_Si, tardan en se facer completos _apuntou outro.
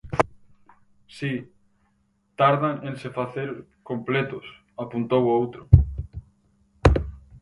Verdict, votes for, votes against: accepted, 4, 2